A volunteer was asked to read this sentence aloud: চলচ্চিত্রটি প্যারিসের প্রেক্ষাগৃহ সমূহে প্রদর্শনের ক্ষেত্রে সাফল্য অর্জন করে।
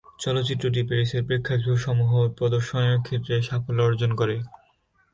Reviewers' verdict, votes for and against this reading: rejected, 1, 2